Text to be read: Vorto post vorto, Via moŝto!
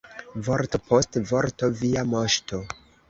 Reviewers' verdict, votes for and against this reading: rejected, 1, 2